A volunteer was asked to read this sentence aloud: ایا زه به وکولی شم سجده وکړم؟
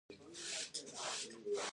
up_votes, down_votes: 1, 2